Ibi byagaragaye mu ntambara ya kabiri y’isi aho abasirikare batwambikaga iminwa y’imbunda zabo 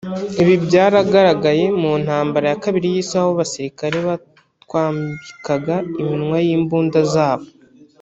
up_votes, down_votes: 1, 2